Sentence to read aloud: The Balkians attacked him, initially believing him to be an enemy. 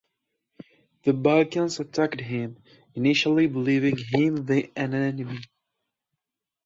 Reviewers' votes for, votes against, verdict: 1, 2, rejected